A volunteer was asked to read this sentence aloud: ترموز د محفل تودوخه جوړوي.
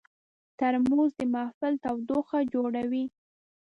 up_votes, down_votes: 2, 0